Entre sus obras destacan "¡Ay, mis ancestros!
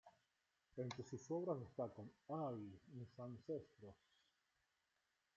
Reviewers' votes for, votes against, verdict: 1, 3, rejected